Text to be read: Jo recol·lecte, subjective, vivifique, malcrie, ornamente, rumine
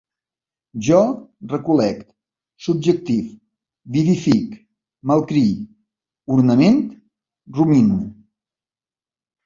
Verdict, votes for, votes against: rejected, 1, 2